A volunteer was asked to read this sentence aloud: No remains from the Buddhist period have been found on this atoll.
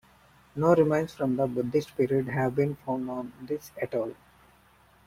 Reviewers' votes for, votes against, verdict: 1, 2, rejected